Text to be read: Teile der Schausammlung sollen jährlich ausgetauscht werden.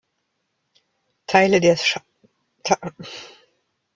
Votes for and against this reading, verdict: 0, 2, rejected